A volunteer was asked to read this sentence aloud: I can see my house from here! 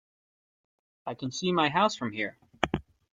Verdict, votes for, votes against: accepted, 2, 0